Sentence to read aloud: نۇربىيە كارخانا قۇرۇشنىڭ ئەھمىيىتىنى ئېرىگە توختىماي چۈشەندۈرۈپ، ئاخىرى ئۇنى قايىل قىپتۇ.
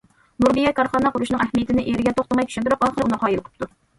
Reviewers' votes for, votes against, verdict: 2, 1, accepted